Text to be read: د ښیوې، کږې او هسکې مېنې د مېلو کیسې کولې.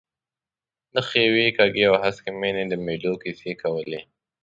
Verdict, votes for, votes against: accepted, 2, 0